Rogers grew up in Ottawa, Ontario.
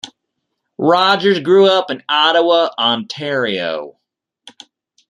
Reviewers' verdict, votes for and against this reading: accepted, 2, 0